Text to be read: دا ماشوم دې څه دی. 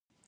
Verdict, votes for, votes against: rejected, 0, 2